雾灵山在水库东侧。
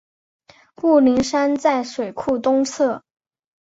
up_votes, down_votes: 2, 0